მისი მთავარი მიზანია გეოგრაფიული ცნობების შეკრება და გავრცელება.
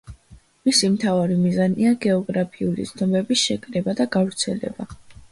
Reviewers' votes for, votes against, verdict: 2, 0, accepted